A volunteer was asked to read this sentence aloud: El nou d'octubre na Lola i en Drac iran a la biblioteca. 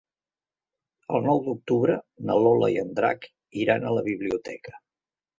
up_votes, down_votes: 3, 0